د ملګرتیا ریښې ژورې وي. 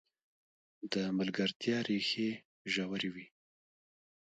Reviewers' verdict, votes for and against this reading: rejected, 1, 2